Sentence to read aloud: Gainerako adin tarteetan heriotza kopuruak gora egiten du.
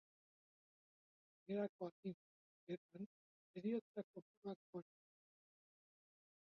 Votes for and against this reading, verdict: 0, 2, rejected